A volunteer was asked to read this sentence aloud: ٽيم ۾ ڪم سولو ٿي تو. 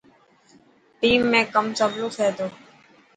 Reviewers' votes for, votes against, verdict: 2, 0, accepted